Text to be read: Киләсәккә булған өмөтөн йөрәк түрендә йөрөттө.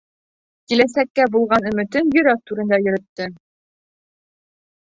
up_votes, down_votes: 2, 1